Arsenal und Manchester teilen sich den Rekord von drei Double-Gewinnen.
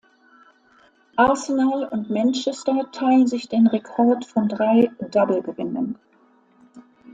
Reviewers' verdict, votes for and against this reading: accepted, 2, 0